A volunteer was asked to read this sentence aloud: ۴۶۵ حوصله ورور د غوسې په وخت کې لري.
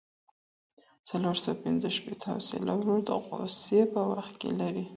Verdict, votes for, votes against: rejected, 0, 2